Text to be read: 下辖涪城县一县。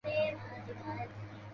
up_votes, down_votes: 2, 4